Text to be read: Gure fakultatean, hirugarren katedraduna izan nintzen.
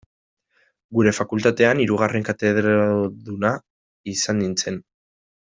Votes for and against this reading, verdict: 1, 2, rejected